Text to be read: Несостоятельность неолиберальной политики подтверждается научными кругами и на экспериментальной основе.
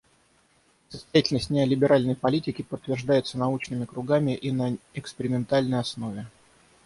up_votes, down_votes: 3, 6